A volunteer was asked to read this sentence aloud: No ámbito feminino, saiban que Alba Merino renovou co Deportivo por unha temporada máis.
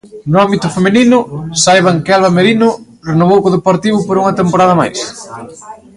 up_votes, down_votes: 2, 0